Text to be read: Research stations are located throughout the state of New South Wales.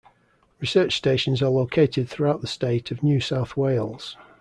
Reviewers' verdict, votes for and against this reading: accepted, 2, 0